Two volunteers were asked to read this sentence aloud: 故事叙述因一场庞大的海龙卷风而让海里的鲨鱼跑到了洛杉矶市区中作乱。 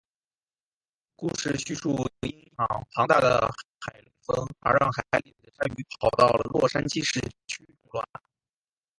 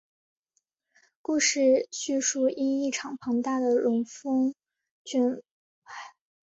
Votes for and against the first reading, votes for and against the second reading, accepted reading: 4, 0, 1, 2, first